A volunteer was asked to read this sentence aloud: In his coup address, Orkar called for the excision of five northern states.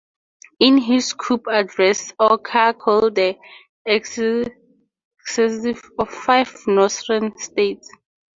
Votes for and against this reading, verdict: 0, 2, rejected